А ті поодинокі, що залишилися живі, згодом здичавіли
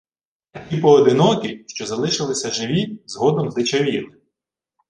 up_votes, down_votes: 0, 2